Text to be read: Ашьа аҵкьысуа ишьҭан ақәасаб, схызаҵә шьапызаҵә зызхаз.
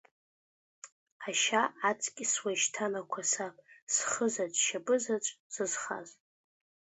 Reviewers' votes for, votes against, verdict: 2, 1, accepted